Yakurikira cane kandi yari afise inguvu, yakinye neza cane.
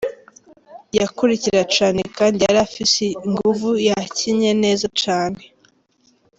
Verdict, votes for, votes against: accepted, 3, 1